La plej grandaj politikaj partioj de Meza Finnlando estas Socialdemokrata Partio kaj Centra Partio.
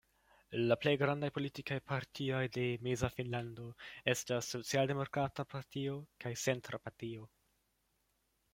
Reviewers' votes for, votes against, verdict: 2, 1, accepted